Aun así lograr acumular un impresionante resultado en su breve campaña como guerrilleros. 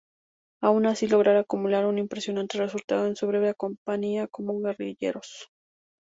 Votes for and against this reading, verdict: 0, 4, rejected